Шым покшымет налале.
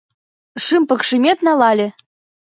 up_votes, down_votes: 2, 3